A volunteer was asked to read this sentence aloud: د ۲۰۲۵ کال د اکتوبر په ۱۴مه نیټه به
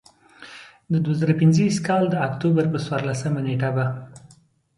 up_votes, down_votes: 0, 2